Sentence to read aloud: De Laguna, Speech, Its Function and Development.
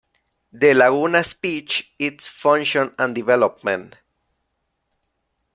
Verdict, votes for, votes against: rejected, 0, 2